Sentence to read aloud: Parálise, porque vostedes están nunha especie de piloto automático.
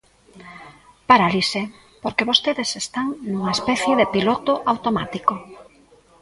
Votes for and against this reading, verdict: 0, 2, rejected